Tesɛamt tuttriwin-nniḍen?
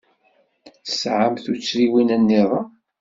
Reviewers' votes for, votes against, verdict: 2, 0, accepted